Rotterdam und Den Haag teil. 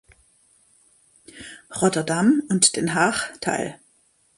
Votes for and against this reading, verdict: 2, 0, accepted